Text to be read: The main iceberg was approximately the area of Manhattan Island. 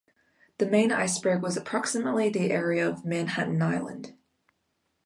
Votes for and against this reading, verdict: 2, 0, accepted